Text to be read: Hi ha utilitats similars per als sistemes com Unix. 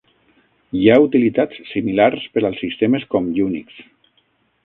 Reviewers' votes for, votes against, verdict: 9, 0, accepted